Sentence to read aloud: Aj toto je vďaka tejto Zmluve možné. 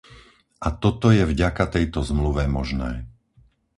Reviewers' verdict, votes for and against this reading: rejected, 0, 4